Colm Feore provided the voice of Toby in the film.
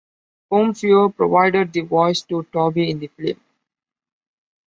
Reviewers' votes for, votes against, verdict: 0, 2, rejected